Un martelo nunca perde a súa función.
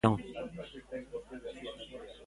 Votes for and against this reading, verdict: 0, 2, rejected